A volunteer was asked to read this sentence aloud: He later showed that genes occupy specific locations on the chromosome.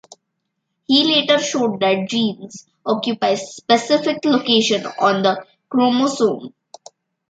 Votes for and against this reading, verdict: 1, 2, rejected